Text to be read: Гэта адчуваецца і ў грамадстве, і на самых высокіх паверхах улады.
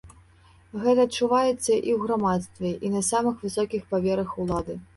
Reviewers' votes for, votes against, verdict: 0, 2, rejected